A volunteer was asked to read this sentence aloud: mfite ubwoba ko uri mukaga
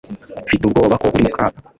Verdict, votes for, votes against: rejected, 1, 2